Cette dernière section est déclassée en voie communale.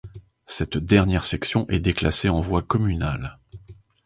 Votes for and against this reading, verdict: 2, 0, accepted